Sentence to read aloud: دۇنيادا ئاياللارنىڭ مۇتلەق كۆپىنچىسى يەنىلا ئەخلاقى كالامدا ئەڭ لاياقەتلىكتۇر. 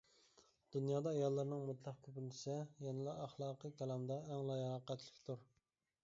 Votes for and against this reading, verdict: 0, 2, rejected